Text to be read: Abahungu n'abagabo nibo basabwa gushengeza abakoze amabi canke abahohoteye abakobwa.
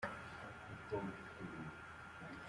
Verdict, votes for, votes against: rejected, 0, 2